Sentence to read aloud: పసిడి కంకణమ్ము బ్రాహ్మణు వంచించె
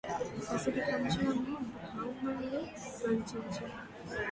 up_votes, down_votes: 0, 2